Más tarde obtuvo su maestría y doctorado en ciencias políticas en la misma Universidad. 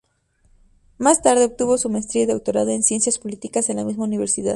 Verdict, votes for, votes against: accepted, 6, 0